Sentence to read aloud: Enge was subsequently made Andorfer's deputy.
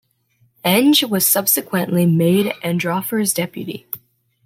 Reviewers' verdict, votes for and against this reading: rejected, 0, 2